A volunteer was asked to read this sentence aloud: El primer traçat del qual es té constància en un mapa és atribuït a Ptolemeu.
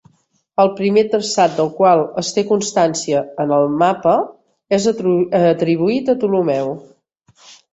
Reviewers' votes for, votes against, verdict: 0, 2, rejected